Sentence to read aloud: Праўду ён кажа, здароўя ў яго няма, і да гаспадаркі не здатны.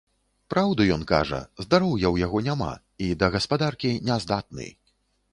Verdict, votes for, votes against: accepted, 2, 0